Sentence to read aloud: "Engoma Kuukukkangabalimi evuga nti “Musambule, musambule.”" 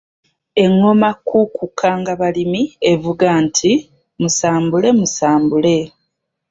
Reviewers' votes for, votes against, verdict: 2, 0, accepted